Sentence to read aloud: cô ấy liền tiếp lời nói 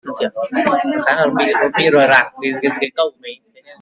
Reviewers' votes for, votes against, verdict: 0, 2, rejected